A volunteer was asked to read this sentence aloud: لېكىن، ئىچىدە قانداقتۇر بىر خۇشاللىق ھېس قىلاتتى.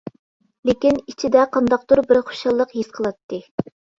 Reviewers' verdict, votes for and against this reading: accepted, 2, 1